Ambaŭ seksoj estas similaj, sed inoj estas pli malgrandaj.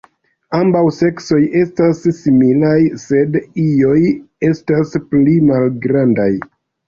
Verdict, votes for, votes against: rejected, 0, 2